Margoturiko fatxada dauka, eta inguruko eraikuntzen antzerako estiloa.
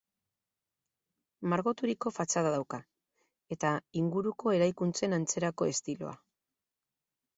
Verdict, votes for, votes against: accepted, 4, 0